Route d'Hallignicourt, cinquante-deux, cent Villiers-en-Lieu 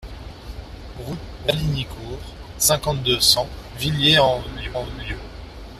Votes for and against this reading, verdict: 0, 2, rejected